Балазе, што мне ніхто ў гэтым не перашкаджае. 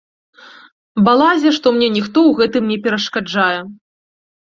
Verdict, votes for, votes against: rejected, 1, 2